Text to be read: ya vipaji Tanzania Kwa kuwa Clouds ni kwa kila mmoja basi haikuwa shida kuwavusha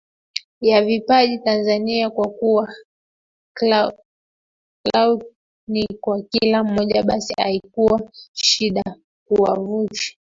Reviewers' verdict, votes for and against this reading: rejected, 1, 2